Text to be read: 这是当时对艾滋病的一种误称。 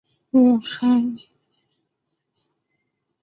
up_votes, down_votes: 0, 2